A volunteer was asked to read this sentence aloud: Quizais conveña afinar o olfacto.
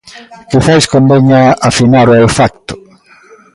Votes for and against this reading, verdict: 1, 2, rejected